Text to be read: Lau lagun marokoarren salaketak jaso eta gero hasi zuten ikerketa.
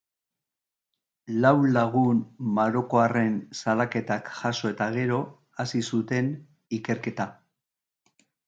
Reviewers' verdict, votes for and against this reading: accepted, 2, 0